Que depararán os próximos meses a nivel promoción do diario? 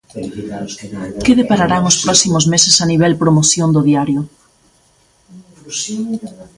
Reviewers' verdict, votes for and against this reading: accepted, 2, 1